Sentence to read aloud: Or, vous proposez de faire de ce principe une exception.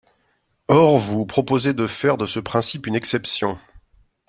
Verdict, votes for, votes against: accepted, 2, 0